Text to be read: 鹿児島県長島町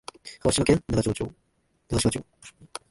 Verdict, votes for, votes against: rejected, 1, 2